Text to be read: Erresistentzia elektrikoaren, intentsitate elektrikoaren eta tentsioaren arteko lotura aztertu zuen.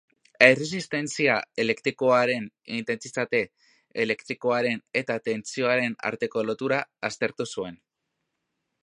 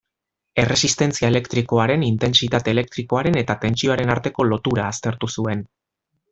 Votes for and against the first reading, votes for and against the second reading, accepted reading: 0, 2, 2, 0, second